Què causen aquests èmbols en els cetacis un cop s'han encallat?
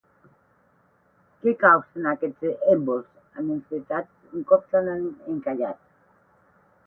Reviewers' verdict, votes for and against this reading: rejected, 4, 8